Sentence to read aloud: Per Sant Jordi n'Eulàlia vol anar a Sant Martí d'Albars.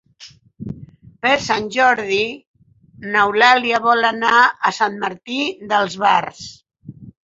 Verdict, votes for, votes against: accepted, 4, 0